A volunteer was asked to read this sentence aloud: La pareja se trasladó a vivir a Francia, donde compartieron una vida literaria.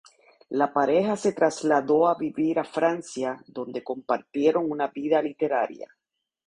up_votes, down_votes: 2, 0